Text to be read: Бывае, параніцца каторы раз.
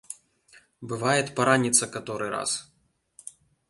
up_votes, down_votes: 0, 2